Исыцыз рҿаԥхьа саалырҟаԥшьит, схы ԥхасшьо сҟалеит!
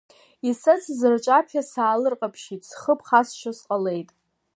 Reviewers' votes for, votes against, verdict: 2, 0, accepted